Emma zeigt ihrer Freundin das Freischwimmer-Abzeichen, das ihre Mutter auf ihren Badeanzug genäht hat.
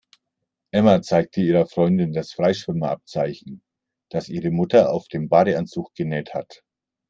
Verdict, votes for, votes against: rejected, 0, 2